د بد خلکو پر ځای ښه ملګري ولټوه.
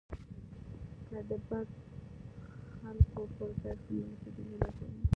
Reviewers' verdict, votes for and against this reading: rejected, 1, 2